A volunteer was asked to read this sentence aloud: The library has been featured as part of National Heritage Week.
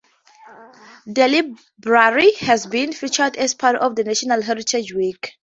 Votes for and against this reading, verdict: 0, 2, rejected